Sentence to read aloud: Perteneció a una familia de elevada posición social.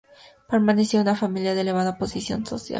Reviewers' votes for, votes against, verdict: 0, 2, rejected